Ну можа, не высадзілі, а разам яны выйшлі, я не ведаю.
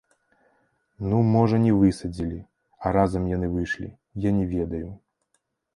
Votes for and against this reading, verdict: 2, 0, accepted